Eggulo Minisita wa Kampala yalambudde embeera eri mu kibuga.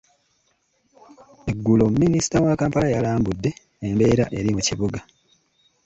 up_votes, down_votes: 2, 0